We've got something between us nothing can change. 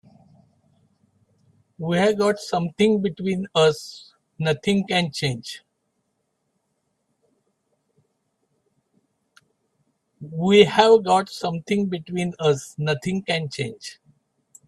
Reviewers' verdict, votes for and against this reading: rejected, 2, 11